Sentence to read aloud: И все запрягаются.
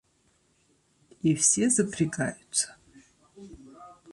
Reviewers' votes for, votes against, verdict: 1, 2, rejected